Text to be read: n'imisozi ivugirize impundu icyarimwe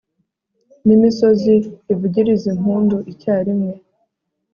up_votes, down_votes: 3, 0